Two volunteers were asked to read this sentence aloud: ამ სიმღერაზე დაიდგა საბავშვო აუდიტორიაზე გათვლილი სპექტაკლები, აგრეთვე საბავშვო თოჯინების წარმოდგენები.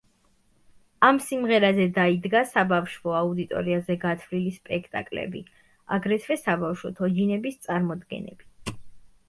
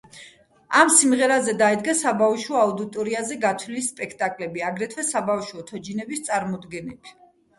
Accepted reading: first